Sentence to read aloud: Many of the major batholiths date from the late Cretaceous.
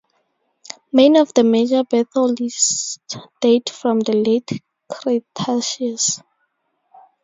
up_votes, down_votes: 4, 2